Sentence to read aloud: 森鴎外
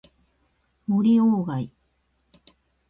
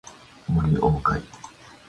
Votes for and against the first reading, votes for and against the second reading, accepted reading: 2, 0, 0, 2, first